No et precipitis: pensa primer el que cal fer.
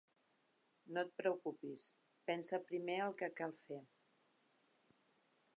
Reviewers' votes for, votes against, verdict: 0, 3, rejected